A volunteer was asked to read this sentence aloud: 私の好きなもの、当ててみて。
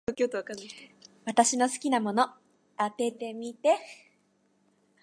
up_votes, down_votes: 1, 2